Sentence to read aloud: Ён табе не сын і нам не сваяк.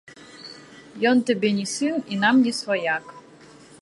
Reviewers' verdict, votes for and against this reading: accepted, 2, 0